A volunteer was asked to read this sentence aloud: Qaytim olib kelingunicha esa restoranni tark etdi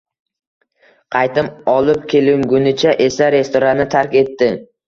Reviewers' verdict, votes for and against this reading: accepted, 2, 0